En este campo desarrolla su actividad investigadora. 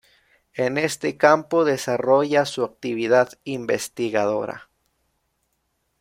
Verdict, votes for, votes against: rejected, 1, 2